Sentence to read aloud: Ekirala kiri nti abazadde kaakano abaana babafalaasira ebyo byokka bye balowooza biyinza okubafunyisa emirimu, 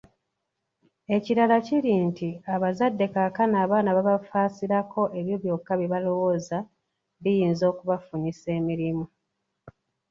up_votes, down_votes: 2, 0